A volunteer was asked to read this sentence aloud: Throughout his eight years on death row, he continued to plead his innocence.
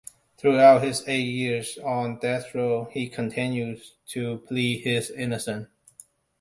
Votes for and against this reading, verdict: 1, 2, rejected